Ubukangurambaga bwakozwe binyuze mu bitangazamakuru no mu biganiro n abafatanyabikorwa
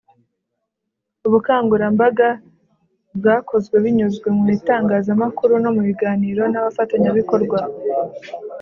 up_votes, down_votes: 3, 0